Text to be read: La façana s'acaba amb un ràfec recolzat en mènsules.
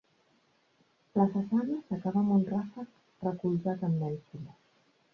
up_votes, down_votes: 1, 2